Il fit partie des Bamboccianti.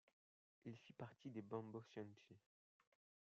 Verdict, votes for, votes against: rejected, 0, 2